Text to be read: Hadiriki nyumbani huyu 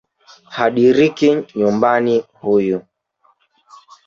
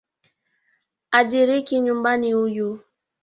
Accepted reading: second